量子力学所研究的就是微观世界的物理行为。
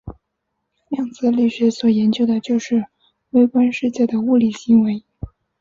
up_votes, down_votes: 2, 1